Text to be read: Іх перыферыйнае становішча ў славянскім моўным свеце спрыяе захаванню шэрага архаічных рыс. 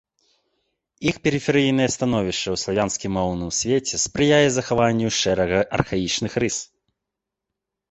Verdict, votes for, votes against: accepted, 2, 0